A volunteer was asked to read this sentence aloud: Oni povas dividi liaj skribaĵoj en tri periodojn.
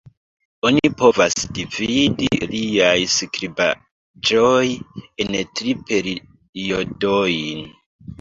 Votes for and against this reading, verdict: 1, 2, rejected